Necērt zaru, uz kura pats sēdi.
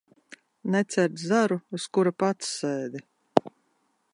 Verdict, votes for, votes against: accepted, 2, 0